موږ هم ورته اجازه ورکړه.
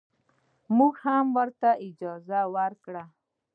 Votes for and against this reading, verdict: 2, 0, accepted